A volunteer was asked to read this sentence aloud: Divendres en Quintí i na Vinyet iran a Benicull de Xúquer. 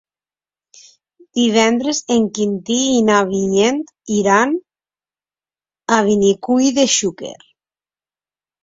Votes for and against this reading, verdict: 1, 2, rejected